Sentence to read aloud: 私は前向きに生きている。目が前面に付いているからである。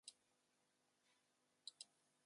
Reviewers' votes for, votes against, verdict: 0, 2, rejected